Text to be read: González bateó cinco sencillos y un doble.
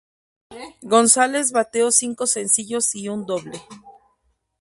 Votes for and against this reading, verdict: 0, 2, rejected